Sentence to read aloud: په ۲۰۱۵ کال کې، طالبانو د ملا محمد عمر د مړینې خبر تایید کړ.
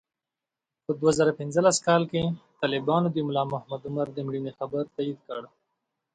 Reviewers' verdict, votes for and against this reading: rejected, 0, 2